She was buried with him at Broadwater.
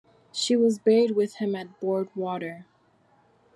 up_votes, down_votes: 0, 2